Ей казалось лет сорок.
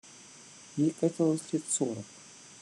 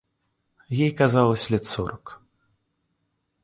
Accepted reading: second